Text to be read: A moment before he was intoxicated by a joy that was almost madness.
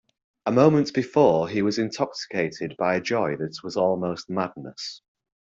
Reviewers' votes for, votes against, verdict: 2, 0, accepted